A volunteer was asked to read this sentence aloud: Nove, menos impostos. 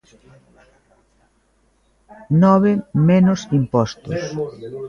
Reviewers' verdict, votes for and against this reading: rejected, 1, 2